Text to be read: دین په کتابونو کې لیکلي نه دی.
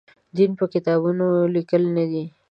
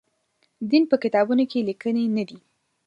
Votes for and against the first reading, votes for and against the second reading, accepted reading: 1, 2, 2, 1, second